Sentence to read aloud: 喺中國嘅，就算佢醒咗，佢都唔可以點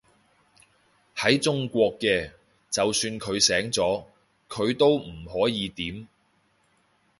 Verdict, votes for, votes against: accepted, 2, 0